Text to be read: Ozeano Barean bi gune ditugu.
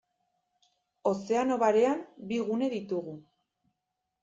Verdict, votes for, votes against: accepted, 2, 0